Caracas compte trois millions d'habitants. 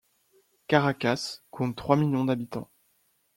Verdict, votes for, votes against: accepted, 2, 0